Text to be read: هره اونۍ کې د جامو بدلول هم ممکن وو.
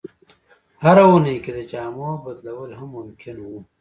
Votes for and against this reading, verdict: 2, 0, accepted